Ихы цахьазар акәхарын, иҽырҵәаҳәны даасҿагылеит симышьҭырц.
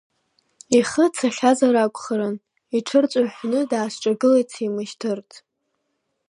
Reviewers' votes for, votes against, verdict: 1, 2, rejected